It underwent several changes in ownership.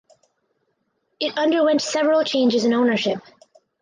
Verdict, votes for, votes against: accepted, 4, 0